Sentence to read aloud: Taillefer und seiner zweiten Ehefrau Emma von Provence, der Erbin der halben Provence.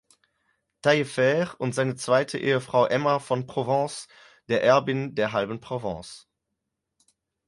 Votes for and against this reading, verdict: 4, 2, accepted